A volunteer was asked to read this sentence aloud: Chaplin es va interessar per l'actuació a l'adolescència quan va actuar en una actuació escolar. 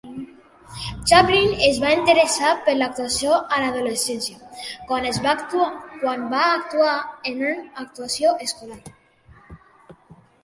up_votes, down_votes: 0, 2